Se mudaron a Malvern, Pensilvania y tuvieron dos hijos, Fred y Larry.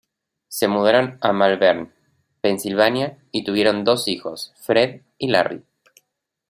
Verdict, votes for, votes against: accepted, 2, 0